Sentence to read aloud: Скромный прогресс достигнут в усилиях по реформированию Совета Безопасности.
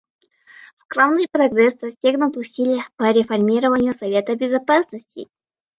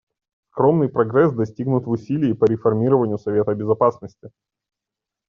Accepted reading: second